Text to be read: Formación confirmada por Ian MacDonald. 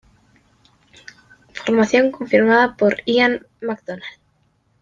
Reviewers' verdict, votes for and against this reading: accepted, 2, 0